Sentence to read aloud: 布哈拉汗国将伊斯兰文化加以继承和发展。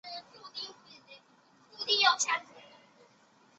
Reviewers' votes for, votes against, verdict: 0, 3, rejected